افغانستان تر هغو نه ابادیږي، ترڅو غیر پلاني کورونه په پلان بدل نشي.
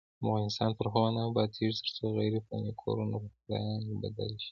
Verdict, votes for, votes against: accepted, 2, 0